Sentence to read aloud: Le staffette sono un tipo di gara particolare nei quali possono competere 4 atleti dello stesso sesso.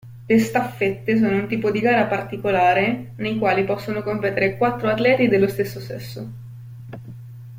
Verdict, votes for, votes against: rejected, 0, 2